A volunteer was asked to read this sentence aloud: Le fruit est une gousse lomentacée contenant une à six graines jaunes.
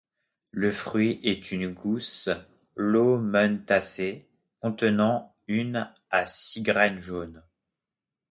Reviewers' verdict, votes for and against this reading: rejected, 0, 2